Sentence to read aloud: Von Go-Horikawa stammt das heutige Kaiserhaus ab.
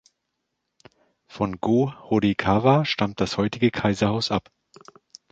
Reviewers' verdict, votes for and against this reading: accepted, 2, 0